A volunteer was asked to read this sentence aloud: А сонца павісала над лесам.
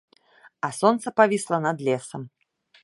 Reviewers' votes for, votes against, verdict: 1, 2, rejected